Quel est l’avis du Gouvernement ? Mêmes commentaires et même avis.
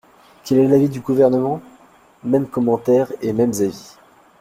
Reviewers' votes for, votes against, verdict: 0, 2, rejected